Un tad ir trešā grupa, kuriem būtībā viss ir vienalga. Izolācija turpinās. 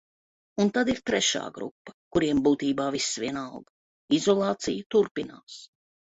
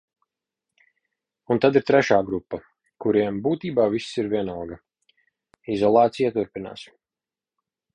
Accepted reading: second